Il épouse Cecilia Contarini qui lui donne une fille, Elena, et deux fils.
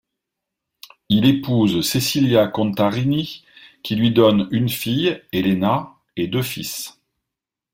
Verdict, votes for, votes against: accepted, 2, 0